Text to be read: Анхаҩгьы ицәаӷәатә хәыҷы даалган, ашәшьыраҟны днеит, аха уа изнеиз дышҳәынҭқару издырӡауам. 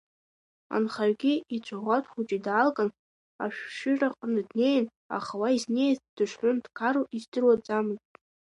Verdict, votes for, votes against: rejected, 1, 2